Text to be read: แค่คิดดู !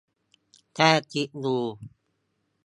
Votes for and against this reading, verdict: 2, 0, accepted